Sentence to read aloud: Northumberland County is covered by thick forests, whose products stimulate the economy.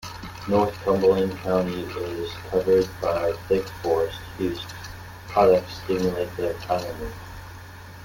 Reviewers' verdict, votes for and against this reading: rejected, 0, 2